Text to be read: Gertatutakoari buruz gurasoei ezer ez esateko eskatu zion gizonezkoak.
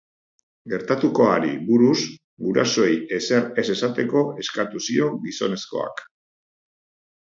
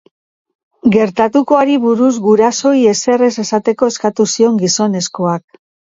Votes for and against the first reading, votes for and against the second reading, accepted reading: 1, 2, 4, 2, second